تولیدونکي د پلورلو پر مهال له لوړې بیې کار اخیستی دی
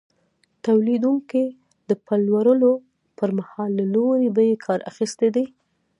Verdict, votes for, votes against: rejected, 1, 2